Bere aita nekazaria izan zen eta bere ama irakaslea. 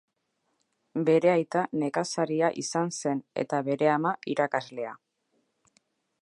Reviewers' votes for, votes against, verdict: 2, 0, accepted